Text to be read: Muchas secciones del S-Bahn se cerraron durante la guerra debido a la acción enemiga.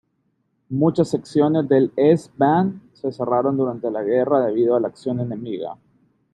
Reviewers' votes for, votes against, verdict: 2, 0, accepted